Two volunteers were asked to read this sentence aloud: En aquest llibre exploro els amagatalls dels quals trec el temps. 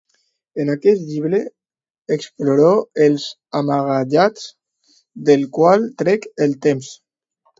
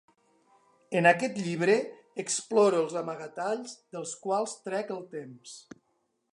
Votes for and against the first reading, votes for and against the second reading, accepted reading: 0, 2, 2, 0, second